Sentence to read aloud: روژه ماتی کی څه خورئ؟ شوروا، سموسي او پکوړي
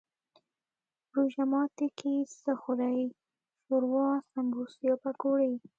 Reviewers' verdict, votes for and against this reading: rejected, 1, 2